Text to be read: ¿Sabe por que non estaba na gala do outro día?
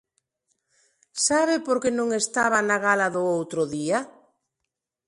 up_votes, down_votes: 2, 0